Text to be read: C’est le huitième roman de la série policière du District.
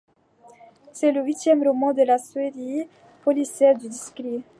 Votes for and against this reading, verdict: 0, 2, rejected